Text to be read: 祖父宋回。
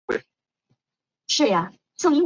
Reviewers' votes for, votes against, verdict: 0, 3, rejected